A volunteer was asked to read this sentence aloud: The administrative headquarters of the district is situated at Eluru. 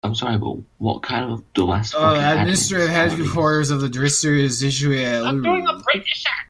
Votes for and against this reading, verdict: 0, 2, rejected